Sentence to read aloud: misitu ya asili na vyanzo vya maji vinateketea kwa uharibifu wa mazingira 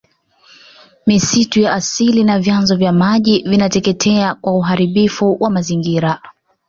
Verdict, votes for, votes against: accepted, 3, 0